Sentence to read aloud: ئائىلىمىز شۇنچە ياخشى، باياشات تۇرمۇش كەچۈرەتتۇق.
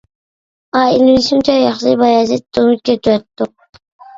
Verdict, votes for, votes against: rejected, 0, 2